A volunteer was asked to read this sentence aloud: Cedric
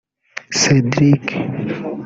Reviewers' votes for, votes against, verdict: 1, 2, rejected